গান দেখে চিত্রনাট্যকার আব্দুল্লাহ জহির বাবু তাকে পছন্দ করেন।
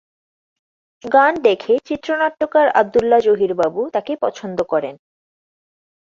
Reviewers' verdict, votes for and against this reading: accepted, 2, 0